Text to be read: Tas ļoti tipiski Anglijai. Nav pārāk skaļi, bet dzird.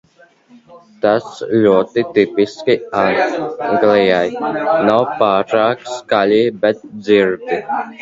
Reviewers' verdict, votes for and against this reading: rejected, 0, 2